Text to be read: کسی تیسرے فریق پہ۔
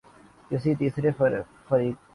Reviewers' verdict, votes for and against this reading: rejected, 0, 2